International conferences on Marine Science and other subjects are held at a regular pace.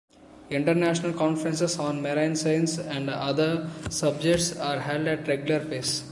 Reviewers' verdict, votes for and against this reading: accepted, 2, 1